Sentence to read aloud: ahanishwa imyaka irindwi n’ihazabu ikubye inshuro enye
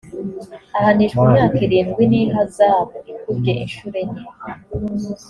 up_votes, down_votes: 2, 0